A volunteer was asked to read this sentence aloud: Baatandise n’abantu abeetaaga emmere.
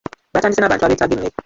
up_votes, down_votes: 0, 2